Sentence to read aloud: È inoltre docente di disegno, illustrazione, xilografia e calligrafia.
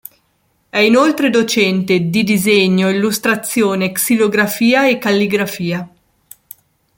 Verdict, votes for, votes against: accepted, 2, 0